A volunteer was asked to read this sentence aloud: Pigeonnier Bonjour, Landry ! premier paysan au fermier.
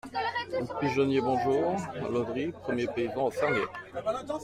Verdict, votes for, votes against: rejected, 1, 2